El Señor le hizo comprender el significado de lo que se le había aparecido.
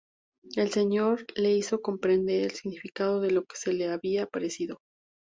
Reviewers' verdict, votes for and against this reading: accepted, 2, 0